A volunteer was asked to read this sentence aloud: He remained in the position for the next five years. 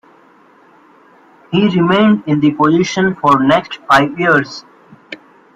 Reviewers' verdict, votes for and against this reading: accepted, 2, 1